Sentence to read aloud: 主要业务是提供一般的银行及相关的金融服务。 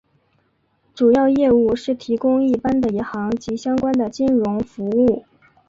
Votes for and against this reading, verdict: 7, 0, accepted